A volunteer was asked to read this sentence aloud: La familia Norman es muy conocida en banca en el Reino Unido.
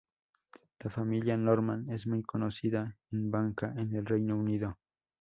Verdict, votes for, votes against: accepted, 2, 0